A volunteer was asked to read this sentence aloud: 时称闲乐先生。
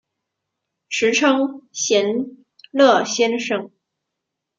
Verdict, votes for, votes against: accepted, 2, 0